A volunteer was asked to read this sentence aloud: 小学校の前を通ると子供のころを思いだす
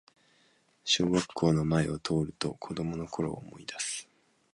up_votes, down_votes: 2, 0